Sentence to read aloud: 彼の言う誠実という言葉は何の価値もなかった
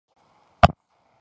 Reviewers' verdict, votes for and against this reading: rejected, 0, 2